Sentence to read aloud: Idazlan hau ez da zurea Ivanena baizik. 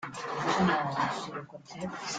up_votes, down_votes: 0, 2